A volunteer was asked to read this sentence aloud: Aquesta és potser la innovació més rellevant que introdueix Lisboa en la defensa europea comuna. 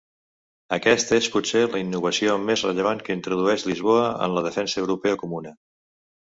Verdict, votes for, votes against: accepted, 2, 0